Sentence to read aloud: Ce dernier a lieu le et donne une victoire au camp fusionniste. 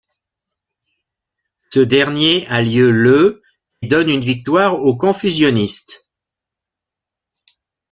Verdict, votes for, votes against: rejected, 1, 2